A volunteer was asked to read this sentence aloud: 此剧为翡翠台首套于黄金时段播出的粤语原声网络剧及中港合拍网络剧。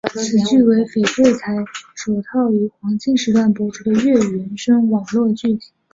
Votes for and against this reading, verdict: 0, 2, rejected